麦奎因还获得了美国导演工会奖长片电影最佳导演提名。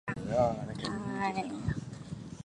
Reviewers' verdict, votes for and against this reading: rejected, 0, 2